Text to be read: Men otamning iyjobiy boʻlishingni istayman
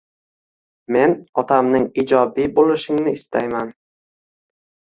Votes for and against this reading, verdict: 0, 2, rejected